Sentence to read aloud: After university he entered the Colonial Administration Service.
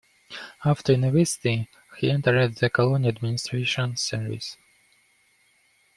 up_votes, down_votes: 2, 0